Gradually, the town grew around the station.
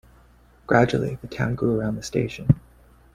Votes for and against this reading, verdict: 2, 1, accepted